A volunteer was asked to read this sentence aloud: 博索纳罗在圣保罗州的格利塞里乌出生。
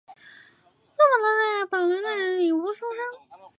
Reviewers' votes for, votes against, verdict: 0, 3, rejected